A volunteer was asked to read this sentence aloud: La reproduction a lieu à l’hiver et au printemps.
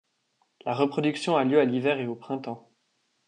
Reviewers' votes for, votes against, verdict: 2, 0, accepted